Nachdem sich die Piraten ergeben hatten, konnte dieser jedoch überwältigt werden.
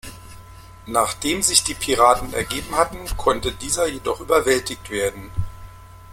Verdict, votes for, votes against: rejected, 0, 2